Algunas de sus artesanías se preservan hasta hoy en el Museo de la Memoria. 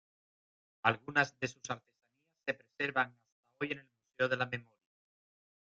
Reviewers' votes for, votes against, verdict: 0, 2, rejected